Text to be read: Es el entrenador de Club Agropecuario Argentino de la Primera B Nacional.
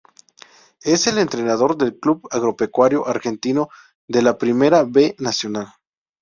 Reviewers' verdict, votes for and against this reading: rejected, 0, 2